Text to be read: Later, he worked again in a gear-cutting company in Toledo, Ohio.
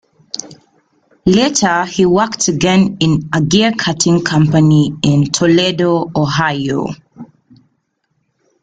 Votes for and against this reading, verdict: 2, 0, accepted